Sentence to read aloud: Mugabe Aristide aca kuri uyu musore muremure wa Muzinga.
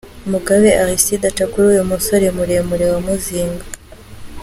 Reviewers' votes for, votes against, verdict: 2, 0, accepted